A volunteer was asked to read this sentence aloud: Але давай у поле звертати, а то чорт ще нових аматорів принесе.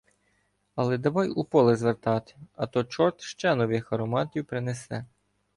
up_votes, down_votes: 1, 2